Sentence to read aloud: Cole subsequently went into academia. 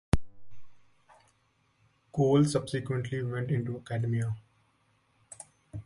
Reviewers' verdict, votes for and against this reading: rejected, 1, 2